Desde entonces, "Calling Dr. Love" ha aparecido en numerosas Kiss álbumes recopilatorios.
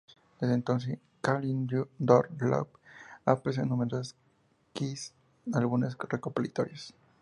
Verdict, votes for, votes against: rejected, 0, 2